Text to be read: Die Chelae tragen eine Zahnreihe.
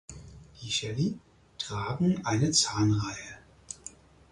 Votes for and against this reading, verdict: 4, 0, accepted